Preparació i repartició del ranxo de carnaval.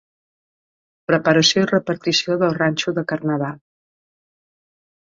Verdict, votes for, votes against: accepted, 3, 2